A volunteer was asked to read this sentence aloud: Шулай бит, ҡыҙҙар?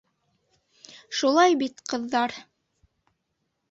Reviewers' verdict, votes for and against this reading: accepted, 2, 0